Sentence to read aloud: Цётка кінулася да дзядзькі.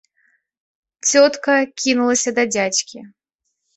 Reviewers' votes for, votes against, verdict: 2, 0, accepted